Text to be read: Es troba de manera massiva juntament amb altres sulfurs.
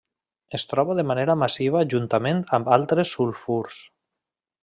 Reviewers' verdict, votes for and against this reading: rejected, 1, 2